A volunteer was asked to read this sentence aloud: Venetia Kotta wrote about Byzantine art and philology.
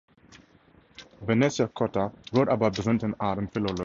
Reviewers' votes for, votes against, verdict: 0, 2, rejected